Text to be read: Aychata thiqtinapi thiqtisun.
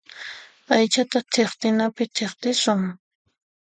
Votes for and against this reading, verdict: 2, 0, accepted